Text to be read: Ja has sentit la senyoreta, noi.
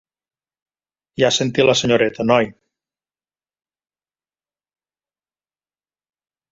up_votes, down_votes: 0, 2